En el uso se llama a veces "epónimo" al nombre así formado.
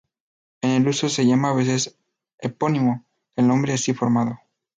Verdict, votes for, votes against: rejected, 0, 4